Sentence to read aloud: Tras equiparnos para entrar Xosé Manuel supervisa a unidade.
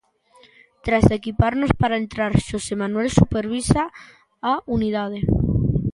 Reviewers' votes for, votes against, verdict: 2, 0, accepted